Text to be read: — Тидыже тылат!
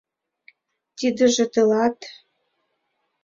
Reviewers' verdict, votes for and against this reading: accepted, 2, 0